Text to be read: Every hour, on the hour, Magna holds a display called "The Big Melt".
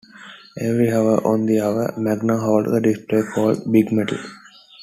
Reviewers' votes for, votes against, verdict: 2, 1, accepted